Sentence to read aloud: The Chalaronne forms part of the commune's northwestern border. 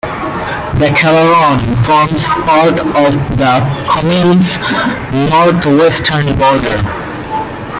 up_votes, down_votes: 0, 2